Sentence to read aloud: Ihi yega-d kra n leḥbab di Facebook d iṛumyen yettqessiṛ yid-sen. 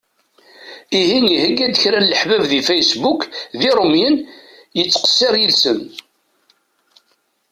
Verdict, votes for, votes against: rejected, 1, 2